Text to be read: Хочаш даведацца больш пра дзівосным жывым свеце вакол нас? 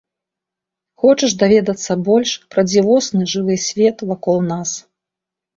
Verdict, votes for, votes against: rejected, 0, 2